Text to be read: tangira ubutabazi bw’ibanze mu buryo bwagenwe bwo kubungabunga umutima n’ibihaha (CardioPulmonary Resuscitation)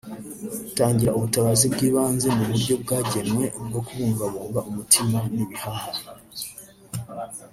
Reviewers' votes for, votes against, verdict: 0, 2, rejected